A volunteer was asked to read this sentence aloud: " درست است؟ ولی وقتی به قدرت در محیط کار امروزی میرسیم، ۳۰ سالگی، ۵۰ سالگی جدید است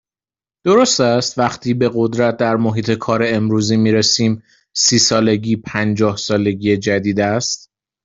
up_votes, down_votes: 0, 2